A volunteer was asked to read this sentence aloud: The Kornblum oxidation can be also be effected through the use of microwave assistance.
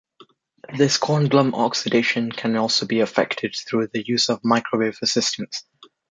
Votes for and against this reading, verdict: 2, 0, accepted